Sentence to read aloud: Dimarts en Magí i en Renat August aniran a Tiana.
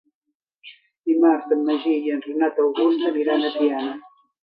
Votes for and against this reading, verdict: 1, 2, rejected